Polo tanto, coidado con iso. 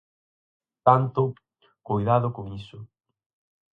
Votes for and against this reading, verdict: 2, 4, rejected